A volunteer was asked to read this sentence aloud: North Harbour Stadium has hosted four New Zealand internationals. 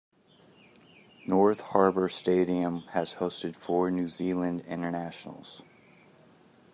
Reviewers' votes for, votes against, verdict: 3, 0, accepted